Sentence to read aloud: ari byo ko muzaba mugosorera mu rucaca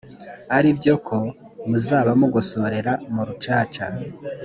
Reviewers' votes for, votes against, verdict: 2, 0, accepted